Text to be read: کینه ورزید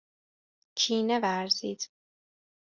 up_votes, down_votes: 2, 0